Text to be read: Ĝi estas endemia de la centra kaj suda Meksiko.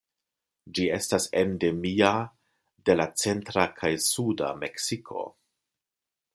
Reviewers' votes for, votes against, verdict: 2, 0, accepted